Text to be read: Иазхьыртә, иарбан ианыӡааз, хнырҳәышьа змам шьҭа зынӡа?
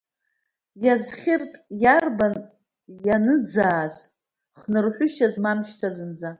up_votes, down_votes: 2, 1